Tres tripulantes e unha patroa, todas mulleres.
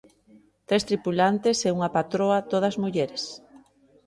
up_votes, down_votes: 2, 0